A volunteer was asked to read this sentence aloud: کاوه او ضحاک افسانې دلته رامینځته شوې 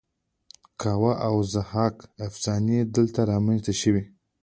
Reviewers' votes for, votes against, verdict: 2, 0, accepted